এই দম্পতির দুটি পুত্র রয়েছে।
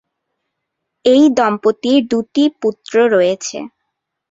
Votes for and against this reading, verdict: 2, 0, accepted